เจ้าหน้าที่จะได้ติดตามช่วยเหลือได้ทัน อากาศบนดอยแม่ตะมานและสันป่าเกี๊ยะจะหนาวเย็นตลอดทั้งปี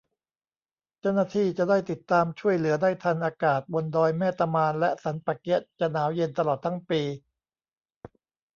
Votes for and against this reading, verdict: 0, 2, rejected